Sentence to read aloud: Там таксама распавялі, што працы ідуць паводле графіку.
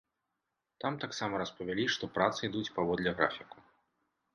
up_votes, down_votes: 2, 0